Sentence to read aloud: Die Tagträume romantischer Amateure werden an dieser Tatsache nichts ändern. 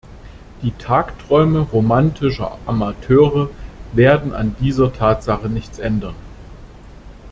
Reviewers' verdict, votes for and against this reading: accepted, 2, 0